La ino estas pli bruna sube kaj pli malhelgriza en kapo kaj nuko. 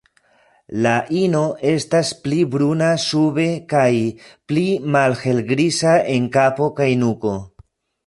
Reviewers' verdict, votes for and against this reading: accepted, 2, 1